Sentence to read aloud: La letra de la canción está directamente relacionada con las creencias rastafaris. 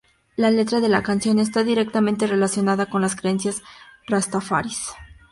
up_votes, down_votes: 2, 0